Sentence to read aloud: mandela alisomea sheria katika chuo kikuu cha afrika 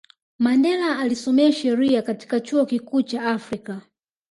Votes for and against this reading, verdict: 2, 0, accepted